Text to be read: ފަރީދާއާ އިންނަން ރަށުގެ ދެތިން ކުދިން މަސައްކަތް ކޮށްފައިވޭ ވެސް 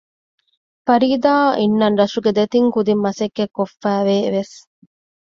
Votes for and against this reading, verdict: 2, 0, accepted